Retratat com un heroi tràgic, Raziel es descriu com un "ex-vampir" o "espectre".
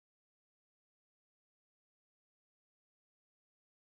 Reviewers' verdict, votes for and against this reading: rejected, 0, 3